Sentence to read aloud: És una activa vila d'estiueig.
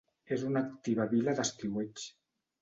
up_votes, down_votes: 2, 0